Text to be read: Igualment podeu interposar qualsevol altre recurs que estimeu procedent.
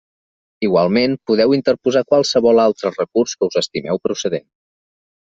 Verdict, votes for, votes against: rejected, 2, 3